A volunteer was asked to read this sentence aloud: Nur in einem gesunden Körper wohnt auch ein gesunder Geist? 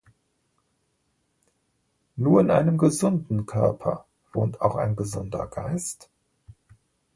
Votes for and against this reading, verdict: 2, 0, accepted